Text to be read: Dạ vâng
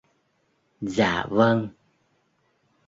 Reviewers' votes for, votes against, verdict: 2, 0, accepted